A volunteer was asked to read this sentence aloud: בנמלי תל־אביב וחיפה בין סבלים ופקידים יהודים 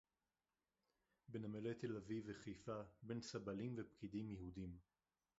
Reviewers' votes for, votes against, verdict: 0, 4, rejected